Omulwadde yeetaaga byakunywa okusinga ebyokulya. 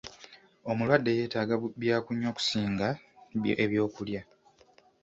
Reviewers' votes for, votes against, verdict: 1, 2, rejected